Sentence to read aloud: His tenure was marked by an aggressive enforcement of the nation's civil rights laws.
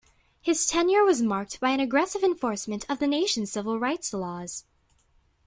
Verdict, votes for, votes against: rejected, 1, 2